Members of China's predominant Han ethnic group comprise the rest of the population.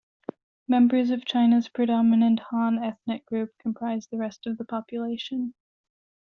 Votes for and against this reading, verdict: 2, 1, accepted